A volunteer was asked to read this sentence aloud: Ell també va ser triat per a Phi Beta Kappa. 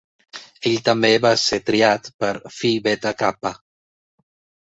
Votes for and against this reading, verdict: 0, 3, rejected